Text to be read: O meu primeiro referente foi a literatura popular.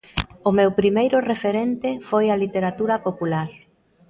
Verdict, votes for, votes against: rejected, 1, 2